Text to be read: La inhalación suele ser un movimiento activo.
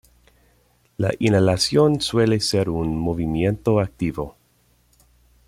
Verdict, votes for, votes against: accepted, 2, 0